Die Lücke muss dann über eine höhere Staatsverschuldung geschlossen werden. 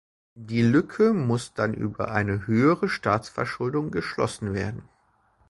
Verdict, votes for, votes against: accepted, 2, 0